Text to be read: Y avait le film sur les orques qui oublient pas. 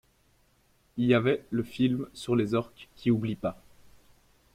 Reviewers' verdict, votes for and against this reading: accepted, 2, 0